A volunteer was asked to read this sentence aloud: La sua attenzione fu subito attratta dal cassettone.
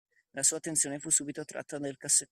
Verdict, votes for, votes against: rejected, 0, 2